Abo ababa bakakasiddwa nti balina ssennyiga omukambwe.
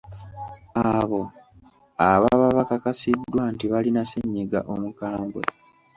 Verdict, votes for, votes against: accepted, 2, 1